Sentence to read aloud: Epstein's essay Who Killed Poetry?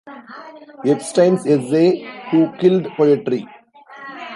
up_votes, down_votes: 0, 2